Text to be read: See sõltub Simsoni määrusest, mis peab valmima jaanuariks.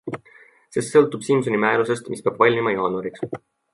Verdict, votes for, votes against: accepted, 2, 0